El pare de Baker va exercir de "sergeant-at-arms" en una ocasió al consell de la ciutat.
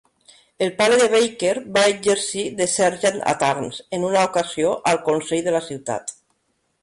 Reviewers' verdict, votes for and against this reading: accepted, 2, 0